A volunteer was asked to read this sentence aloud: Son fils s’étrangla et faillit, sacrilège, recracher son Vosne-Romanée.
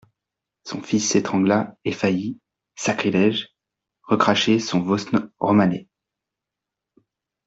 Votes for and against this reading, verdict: 2, 0, accepted